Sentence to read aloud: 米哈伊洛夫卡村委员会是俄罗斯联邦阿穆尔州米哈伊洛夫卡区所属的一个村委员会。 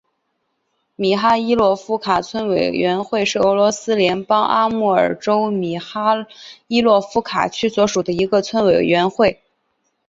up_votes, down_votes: 0, 2